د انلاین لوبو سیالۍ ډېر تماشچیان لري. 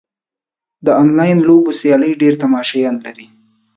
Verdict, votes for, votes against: accepted, 2, 0